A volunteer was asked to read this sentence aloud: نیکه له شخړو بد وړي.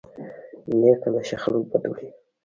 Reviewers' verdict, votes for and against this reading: rejected, 0, 2